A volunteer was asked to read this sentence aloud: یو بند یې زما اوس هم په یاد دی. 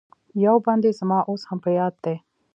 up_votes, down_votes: 1, 2